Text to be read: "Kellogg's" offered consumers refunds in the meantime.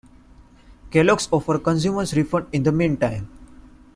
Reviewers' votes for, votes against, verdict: 2, 0, accepted